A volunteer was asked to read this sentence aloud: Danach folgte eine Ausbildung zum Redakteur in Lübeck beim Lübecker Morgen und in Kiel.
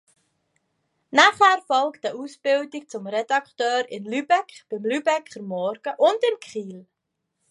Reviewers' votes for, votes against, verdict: 2, 1, accepted